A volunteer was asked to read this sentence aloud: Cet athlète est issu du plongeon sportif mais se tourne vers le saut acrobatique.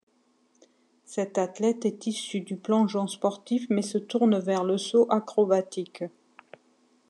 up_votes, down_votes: 2, 0